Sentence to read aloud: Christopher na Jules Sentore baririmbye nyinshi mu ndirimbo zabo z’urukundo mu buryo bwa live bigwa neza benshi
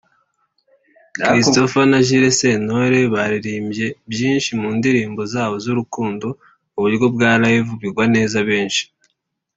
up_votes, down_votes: 0, 2